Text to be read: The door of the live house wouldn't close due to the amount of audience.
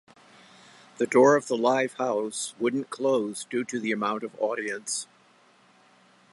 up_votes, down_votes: 2, 0